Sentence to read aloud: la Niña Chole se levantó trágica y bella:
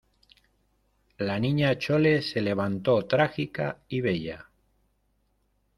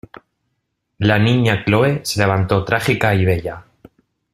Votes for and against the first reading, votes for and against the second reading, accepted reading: 2, 1, 0, 2, first